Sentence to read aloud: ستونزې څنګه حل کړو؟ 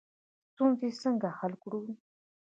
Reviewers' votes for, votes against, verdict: 2, 0, accepted